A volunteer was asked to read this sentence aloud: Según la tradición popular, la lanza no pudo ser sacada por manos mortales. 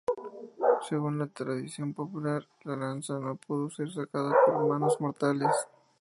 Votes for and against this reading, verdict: 0, 2, rejected